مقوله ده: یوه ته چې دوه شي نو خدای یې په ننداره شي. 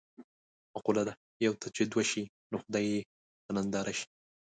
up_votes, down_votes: 2, 0